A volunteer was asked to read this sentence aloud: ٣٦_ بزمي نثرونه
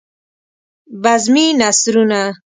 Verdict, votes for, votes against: rejected, 0, 2